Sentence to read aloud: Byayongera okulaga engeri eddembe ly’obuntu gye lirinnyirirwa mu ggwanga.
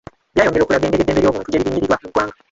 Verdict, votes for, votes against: rejected, 0, 2